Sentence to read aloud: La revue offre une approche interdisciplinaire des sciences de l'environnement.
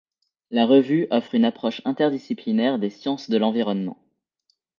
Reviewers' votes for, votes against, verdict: 2, 0, accepted